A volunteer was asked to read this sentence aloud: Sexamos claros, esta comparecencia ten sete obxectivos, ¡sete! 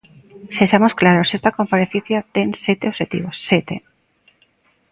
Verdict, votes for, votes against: accepted, 2, 0